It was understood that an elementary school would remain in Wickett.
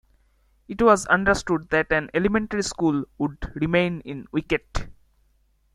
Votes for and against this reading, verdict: 1, 2, rejected